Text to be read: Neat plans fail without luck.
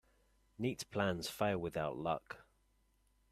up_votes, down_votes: 2, 0